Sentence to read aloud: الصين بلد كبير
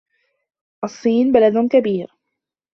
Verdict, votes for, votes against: accepted, 2, 0